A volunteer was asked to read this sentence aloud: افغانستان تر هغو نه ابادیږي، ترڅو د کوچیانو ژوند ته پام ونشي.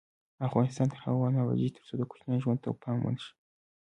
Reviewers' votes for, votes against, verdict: 2, 0, accepted